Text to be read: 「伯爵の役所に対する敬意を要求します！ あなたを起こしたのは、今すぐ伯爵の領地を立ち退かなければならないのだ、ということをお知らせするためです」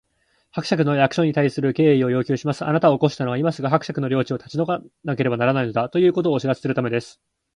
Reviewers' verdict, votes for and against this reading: accepted, 2, 0